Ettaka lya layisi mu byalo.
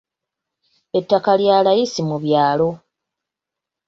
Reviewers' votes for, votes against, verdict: 2, 0, accepted